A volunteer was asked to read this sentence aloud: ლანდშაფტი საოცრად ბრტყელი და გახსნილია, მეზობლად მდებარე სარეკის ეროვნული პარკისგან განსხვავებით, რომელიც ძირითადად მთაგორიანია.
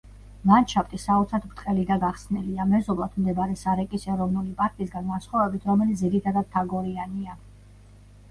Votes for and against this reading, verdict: 0, 2, rejected